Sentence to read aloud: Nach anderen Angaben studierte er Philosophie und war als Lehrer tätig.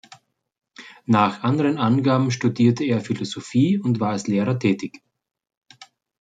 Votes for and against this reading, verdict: 2, 0, accepted